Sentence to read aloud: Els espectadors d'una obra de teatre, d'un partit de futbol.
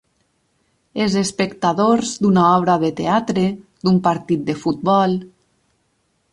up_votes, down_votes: 6, 2